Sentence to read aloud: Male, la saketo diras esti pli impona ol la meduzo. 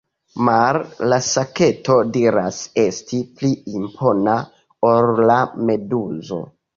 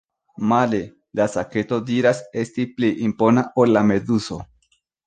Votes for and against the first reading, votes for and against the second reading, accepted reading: 1, 2, 2, 0, second